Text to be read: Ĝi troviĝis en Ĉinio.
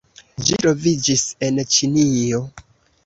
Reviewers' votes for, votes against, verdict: 2, 1, accepted